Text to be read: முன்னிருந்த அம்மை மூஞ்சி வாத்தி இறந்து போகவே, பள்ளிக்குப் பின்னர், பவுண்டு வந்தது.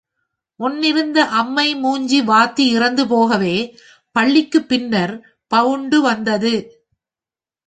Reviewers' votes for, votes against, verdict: 4, 1, accepted